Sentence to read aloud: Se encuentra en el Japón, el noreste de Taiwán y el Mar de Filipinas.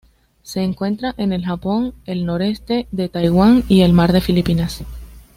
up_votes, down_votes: 2, 0